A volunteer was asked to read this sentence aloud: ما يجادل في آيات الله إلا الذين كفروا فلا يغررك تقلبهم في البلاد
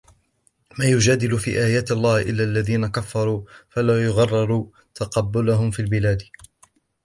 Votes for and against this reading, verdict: 0, 2, rejected